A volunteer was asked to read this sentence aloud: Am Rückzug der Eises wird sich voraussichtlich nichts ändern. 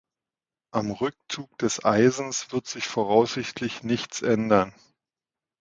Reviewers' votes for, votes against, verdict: 1, 2, rejected